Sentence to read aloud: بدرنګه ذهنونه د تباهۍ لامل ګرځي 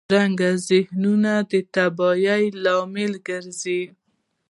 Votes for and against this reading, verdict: 1, 2, rejected